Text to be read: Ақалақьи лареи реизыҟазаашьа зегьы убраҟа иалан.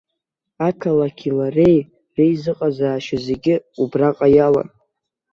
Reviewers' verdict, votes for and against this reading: accepted, 2, 0